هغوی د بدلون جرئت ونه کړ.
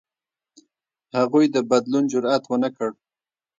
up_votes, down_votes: 0, 2